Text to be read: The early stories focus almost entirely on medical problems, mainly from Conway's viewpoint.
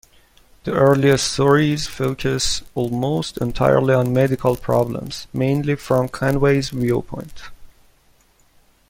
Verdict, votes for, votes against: accepted, 2, 0